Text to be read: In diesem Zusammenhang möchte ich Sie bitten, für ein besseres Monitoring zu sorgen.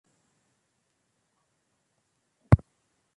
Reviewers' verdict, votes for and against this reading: rejected, 0, 2